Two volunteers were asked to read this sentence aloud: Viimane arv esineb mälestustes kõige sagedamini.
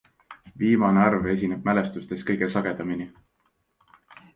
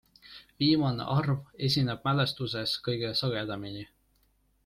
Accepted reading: first